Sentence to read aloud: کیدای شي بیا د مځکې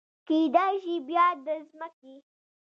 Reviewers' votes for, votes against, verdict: 3, 1, accepted